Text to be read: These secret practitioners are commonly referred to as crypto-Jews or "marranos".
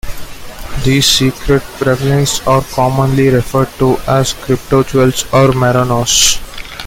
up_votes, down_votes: 0, 2